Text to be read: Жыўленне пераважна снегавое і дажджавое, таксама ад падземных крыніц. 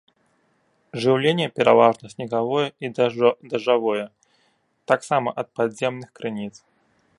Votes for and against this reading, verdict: 0, 2, rejected